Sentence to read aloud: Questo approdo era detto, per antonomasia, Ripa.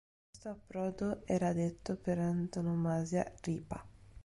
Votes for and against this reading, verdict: 0, 2, rejected